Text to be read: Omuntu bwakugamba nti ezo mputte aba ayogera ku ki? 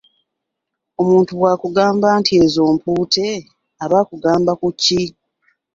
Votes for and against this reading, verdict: 1, 2, rejected